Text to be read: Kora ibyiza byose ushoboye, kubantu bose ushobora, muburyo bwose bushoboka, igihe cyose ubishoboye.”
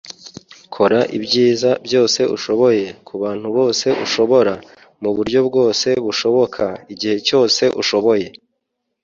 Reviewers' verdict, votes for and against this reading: rejected, 2, 4